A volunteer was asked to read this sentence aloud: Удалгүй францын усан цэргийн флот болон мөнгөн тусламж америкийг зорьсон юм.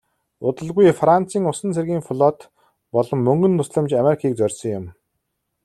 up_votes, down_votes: 2, 0